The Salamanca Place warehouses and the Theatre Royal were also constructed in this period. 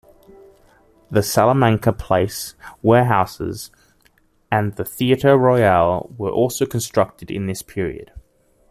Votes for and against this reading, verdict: 2, 0, accepted